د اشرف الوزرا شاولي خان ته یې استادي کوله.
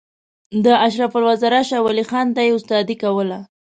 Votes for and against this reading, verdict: 2, 0, accepted